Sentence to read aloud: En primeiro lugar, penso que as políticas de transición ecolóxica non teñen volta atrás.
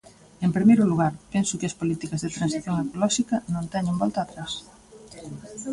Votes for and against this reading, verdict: 1, 2, rejected